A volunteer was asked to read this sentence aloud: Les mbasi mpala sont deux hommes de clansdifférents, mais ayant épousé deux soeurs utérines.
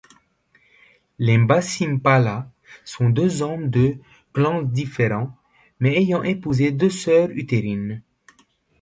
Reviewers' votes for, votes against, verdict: 2, 1, accepted